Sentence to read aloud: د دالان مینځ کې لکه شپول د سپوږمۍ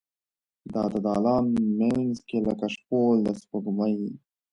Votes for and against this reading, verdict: 2, 0, accepted